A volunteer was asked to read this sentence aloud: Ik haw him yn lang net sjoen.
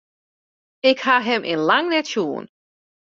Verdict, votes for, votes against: accepted, 2, 0